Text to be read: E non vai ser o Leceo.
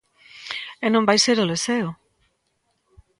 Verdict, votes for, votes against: accepted, 3, 0